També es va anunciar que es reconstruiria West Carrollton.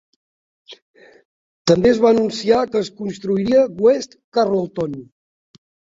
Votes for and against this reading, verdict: 1, 3, rejected